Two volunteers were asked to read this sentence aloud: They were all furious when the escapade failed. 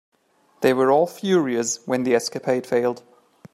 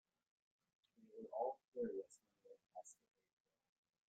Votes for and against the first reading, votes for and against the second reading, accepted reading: 2, 0, 0, 2, first